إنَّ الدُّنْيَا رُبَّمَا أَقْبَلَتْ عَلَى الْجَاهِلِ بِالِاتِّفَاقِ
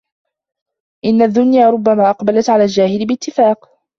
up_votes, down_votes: 0, 2